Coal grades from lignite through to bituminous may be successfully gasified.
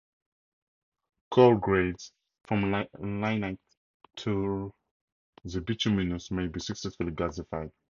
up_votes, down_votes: 2, 0